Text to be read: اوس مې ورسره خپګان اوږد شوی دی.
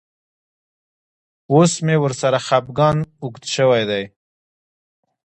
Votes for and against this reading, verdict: 1, 2, rejected